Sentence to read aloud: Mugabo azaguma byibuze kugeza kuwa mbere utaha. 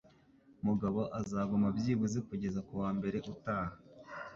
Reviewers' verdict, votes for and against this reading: accepted, 2, 0